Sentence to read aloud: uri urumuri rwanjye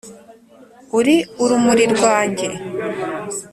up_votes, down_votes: 3, 0